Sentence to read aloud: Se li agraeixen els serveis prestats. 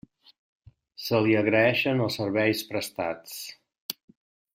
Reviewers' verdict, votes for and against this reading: accepted, 3, 0